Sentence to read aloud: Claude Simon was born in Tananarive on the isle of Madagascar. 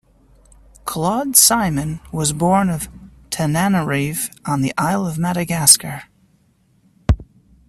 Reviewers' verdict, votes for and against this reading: rejected, 1, 2